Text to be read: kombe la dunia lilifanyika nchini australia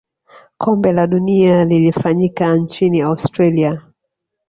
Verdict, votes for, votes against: rejected, 1, 2